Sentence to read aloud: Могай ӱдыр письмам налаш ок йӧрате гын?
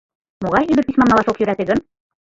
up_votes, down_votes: 0, 2